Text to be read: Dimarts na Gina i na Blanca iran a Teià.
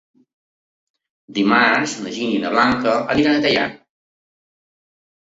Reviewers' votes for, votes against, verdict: 0, 2, rejected